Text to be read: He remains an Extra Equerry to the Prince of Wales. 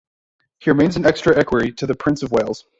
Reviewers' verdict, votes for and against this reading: rejected, 1, 2